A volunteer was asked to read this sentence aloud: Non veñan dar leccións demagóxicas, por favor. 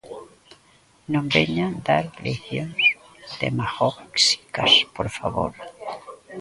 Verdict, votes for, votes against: rejected, 0, 2